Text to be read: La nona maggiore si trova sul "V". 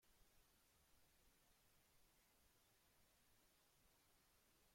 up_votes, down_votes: 0, 2